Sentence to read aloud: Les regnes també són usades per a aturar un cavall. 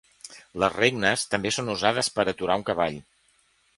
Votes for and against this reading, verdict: 2, 0, accepted